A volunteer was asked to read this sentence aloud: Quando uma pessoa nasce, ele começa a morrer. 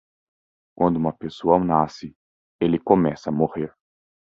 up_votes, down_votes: 2, 0